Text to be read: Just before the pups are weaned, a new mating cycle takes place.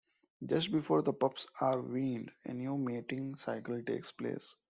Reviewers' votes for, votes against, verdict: 2, 0, accepted